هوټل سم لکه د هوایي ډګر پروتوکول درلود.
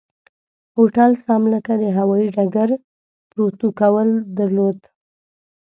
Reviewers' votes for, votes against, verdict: 1, 2, rejected